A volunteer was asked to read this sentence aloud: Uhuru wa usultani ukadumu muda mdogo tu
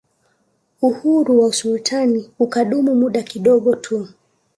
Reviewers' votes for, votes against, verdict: 0, 2, rejected